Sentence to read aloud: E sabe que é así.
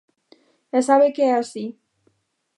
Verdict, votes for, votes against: accepted, 2, 0